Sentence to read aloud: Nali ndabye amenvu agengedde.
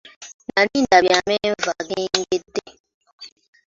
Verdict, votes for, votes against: rejected, 0, 2